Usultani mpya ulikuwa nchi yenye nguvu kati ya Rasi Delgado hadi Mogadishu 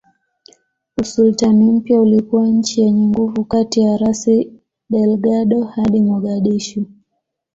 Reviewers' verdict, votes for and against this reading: accepted, 2, 0